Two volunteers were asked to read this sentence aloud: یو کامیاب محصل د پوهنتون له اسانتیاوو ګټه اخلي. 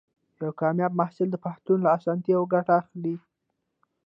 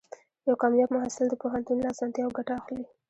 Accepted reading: second